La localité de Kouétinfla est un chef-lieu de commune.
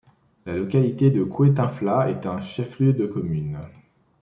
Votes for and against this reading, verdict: 2, 0, accepted